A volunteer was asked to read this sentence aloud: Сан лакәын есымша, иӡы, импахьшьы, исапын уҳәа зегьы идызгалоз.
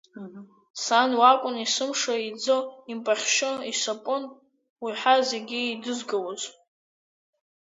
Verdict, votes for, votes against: accepted, 2, 1